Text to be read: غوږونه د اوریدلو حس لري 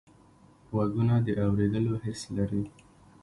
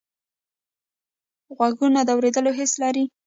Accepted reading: first